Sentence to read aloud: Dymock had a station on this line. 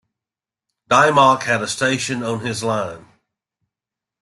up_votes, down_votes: 0, 2